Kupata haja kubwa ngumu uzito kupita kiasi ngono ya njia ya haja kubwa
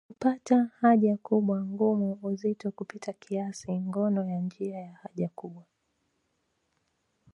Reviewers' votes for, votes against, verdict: 2, 1, accepted